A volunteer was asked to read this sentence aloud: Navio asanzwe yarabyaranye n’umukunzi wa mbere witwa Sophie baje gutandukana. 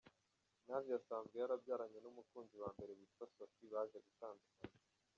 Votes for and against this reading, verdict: 1, 2, rejected